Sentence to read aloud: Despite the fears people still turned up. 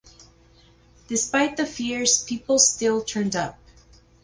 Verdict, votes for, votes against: accepted, 4, 0